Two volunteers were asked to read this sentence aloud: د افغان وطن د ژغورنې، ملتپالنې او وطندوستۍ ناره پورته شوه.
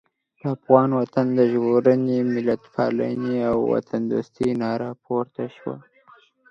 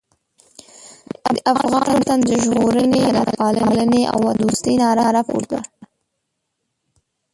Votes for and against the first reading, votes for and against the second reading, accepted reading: 2, 0, 0, 3, first